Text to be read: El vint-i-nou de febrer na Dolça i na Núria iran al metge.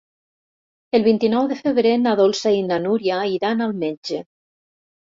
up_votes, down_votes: 4, 0